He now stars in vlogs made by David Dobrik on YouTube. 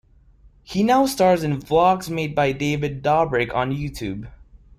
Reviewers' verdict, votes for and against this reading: accepted, 2, 0